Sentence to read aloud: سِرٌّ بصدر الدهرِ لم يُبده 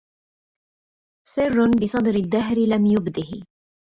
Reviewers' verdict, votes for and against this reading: accepted, 2, 0